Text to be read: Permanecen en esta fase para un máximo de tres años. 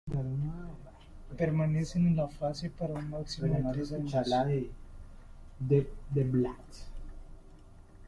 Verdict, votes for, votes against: rejected, 1, 2